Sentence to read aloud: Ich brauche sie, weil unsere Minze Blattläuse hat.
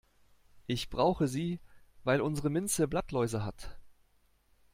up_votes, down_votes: 2, 0